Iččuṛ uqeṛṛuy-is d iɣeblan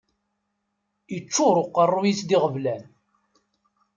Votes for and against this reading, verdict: 2, 0, accepted